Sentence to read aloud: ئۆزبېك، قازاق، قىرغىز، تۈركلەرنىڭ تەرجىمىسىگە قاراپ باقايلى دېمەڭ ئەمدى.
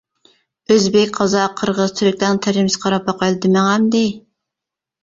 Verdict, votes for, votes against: rejected, 1, 2